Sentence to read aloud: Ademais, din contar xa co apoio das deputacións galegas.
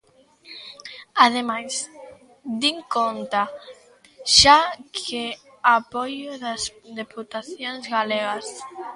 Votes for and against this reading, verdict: 0, 2, rejected